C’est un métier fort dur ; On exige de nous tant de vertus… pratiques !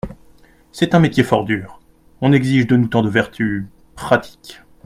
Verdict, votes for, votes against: accepted, 2, 0